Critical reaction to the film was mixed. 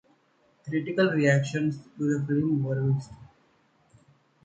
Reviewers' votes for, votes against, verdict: 1, 2, rejected